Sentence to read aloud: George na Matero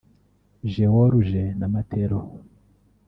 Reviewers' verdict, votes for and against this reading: rejected, 1, 2